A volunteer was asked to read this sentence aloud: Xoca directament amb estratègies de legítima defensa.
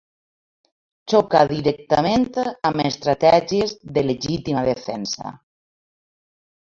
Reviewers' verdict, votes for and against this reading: rejected, 1, 2